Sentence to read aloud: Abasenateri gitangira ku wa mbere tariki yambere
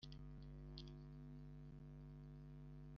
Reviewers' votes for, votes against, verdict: 0, 2, rejected